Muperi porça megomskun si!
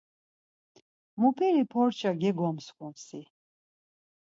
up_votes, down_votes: 2, 4